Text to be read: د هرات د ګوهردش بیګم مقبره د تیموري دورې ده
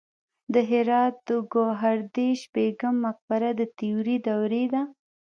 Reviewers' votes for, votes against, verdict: 0, 2, rejected